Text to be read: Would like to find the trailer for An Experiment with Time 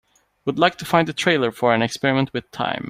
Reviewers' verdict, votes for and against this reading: accepted, 2, 0